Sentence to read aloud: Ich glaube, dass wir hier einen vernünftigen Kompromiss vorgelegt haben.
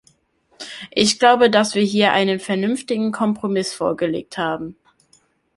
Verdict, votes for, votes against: accepted, 2, 0